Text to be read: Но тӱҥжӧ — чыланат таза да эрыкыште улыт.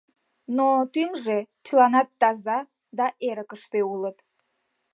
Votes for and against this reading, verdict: 2, 0, accepted